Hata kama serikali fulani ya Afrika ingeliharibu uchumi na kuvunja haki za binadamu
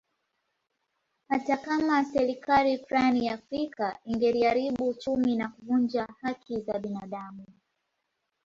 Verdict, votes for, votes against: accepted, 2, 1